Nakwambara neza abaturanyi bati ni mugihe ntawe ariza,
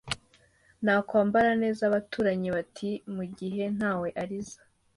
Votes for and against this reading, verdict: 2, 0, accepted